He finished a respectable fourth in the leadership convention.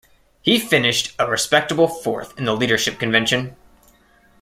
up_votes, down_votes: 2, 0